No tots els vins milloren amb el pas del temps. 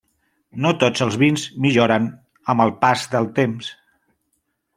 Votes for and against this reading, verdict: 3, 0, accepted